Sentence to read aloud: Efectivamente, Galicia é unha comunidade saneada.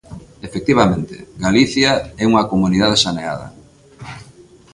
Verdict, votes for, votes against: accepted, 2, 0